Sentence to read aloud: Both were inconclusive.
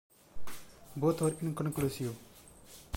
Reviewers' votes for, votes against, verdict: 0, 2, rejected